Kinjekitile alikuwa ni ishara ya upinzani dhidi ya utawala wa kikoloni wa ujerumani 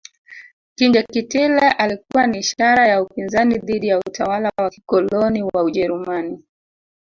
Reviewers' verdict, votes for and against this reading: rejected, 1, 2